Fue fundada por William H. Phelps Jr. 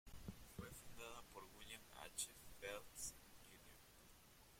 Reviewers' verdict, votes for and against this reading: rejected, 0, 3